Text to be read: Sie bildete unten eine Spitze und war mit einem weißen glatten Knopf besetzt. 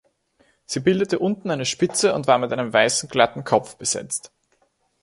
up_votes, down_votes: 0, 2